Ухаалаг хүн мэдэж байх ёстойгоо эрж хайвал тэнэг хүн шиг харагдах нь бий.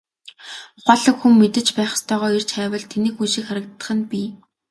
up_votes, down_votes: 0, 2